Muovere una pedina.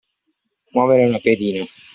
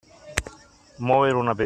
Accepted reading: first